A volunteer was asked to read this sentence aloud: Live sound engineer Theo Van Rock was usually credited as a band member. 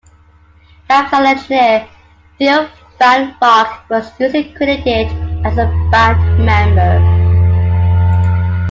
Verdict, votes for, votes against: accepted, 2, 1